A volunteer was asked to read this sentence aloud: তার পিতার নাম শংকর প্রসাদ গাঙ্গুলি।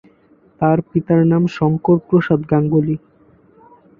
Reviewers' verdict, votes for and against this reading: accepted, 2, 0